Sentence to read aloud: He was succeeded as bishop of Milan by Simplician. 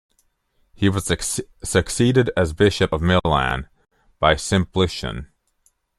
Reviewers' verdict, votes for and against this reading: rejected, 1, 2